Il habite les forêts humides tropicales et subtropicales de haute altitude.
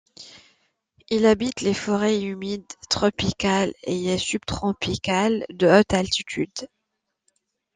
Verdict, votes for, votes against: accepted, 2, 0